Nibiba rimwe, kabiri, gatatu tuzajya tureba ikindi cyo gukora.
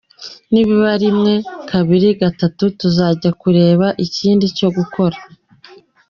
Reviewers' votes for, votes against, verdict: 3, 0, accepted